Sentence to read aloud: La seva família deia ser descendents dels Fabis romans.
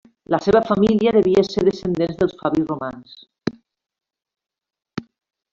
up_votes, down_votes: 2, 1